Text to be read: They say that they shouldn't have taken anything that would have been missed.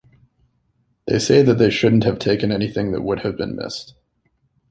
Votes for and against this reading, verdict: 2, 1, accepted